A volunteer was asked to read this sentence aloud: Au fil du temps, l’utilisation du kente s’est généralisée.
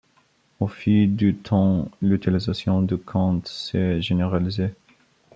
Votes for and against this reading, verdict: 0, 2, rejected